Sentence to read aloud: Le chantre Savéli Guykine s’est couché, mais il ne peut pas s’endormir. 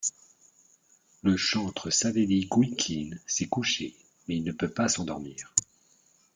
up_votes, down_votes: 1, 2